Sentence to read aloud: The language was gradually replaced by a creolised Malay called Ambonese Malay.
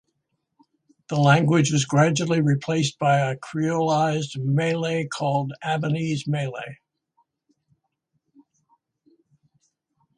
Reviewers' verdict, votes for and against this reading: accepted, 2, 0